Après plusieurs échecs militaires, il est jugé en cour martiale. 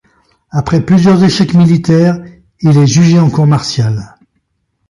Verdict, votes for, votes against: accepted, 2, 0